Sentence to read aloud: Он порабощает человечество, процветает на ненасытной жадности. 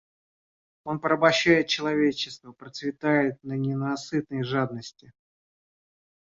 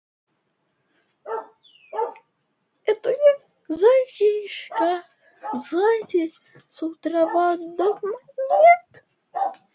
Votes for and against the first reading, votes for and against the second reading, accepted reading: 2, 0, 0, 2, first